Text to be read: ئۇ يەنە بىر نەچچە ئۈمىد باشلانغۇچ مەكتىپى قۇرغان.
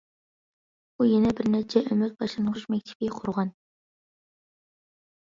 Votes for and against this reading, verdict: 2, 0, accepted